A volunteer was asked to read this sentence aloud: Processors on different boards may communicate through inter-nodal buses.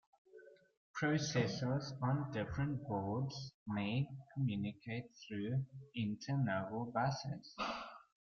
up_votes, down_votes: 2, 0